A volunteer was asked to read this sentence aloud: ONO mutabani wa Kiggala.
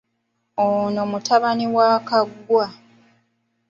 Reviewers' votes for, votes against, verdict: 1, 2, rejected